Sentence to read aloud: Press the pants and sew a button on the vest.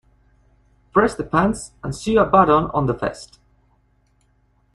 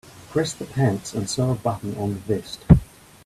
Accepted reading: second